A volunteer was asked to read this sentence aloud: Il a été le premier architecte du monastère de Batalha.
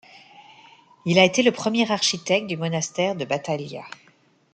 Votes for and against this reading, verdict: 1, 2, rejected